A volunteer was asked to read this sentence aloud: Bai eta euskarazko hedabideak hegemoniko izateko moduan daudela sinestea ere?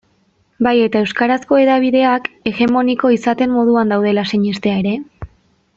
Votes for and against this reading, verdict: 1, 2, rejected